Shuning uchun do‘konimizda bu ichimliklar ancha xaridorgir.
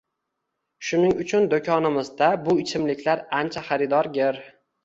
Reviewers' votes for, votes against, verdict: 2, 0, accepted